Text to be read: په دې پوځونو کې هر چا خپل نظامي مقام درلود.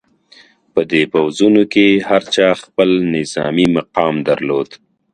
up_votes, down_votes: 2, 1